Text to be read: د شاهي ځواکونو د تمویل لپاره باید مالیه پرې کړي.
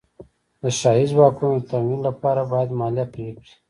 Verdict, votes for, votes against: accepted, 2, 0